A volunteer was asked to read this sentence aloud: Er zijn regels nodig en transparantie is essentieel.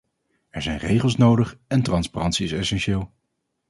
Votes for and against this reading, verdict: 2, 0, accepted